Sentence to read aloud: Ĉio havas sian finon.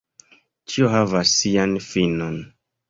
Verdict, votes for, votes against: rejected, 1, 2